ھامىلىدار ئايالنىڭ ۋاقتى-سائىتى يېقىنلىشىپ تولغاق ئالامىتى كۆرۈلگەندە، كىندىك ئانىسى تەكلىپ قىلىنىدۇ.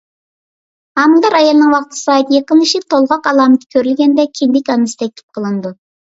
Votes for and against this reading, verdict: 2, 1, accepted